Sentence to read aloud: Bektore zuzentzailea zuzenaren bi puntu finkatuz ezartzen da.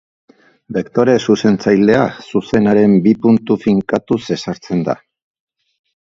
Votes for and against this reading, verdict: 3, 0, accepted